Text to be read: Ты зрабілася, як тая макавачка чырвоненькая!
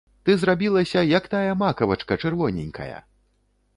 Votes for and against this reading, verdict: 2, 0, accepted